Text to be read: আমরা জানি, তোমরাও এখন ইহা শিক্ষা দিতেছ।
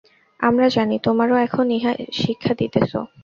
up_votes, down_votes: 0, 2